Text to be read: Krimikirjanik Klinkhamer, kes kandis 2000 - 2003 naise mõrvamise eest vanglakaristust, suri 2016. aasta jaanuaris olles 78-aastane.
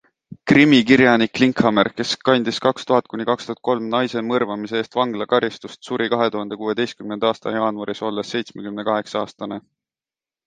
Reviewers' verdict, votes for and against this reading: rejected, 0, 2